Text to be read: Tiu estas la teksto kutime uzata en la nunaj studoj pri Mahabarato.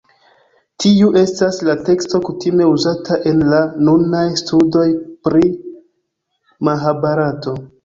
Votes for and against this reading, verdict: 2, 0, accepted